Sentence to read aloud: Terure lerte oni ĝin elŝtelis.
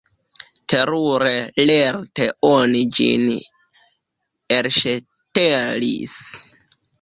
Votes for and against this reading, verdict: 1, 2, rejected